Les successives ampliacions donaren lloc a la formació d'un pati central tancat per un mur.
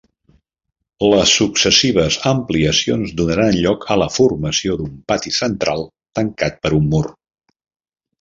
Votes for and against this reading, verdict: 0, 2, rejected